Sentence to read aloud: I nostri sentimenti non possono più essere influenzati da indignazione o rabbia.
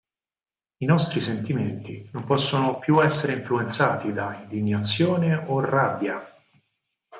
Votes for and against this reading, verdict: 4, 0, accepted